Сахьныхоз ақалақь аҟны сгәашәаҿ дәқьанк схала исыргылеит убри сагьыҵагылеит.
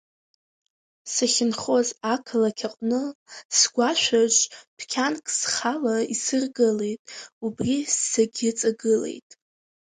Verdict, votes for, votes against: rejected, 0, 2